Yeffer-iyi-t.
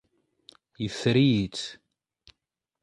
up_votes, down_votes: 1, 2